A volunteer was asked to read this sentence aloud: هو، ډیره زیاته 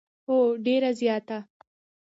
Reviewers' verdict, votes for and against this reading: accepted, 2, 0